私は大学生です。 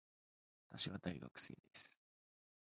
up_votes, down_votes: 2, 2